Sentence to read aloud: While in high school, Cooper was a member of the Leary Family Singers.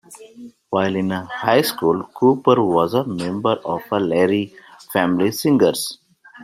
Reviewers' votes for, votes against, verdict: 2, 3, rejected